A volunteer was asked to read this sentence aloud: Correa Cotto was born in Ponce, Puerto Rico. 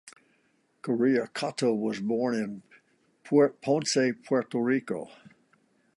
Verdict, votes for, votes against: rejected, 0, 2